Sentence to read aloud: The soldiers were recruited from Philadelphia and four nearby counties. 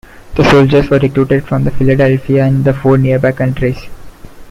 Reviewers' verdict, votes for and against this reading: rejected, 1, 2